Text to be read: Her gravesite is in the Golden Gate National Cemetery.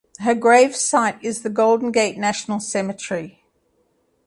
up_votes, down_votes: 2, 0